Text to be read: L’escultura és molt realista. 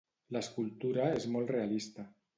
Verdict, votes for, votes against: rejected, 1, 2